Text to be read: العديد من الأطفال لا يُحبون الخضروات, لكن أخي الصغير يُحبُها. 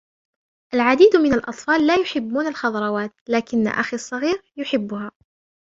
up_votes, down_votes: 2, 0